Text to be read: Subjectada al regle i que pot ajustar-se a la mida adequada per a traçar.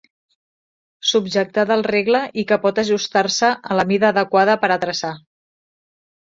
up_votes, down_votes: 2, 0